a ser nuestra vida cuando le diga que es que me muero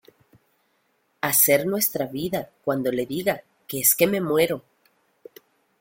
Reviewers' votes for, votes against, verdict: 2, 0, accepted